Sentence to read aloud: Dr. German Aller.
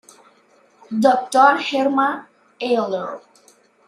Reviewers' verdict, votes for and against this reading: accepted, 2, 1